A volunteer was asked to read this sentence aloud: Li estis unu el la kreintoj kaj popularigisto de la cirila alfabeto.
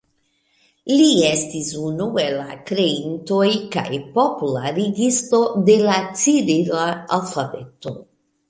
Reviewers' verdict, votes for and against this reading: rejected, 1, 2